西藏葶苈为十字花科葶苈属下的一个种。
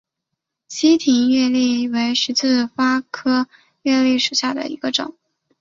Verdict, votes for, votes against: rejected, 0, 4